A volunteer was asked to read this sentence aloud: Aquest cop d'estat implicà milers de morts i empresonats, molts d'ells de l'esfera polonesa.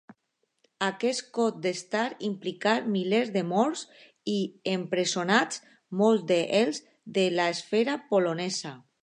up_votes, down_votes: 2, 0